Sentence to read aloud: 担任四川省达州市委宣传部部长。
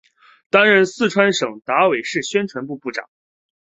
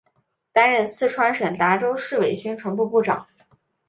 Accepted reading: second